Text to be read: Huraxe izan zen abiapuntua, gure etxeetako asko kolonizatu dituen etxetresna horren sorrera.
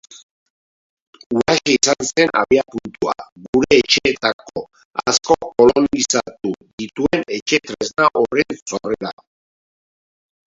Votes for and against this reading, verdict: 0, 2, rejected